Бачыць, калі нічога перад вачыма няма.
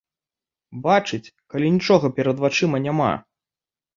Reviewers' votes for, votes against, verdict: 2, 0, accepted